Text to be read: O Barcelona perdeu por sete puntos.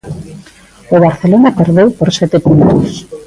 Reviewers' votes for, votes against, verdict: 1, 2, rejected